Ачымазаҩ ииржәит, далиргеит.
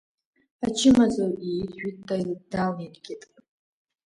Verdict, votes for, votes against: accepted, 2, 1